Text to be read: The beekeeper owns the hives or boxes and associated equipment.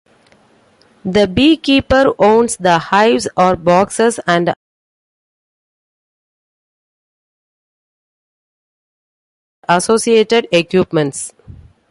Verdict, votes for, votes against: rejected, 0, 2